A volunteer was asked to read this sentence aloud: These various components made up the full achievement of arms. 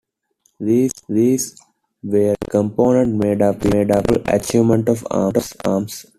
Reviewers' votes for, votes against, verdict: 1, 2, rejected